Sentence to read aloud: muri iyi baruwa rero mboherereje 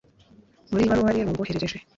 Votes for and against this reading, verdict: 1, 2, rejected